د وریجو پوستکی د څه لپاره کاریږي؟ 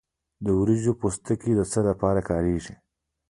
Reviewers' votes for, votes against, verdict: 0, 2, rejected